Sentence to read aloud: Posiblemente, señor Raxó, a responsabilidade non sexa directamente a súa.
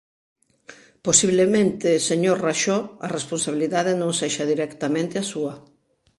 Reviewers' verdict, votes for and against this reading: accepted, 2, 0